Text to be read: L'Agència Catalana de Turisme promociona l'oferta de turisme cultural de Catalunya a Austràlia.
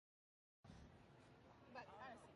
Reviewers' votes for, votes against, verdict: 0, 2, rejected